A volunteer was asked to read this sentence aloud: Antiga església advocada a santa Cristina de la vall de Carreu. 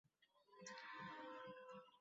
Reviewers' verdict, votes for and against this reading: rejected, 0, 2